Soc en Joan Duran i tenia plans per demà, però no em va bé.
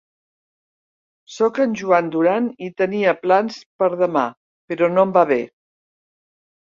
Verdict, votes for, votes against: accepted, 4, 0